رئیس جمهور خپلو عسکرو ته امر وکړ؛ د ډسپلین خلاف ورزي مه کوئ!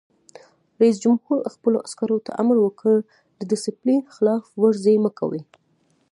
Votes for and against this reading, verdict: 2, 1, accepted